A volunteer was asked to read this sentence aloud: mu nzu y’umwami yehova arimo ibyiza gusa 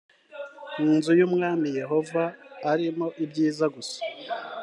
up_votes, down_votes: 2, 0